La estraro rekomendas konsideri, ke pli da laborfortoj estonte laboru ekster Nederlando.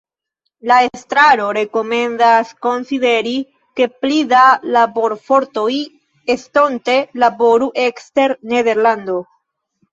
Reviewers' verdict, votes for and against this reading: accepted, 2, 1